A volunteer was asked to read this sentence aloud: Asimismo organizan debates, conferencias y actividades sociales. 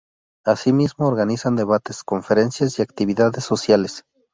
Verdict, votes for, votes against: accepted, 2, 0